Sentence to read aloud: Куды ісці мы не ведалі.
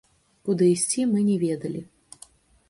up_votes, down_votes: 2, 0